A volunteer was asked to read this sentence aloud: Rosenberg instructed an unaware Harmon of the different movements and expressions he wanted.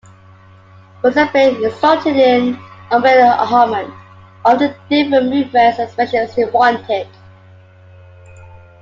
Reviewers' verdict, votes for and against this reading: rejected, 0, 2